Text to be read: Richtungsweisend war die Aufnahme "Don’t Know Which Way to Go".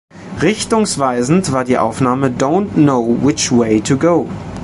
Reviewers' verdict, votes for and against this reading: accepted, 2, 0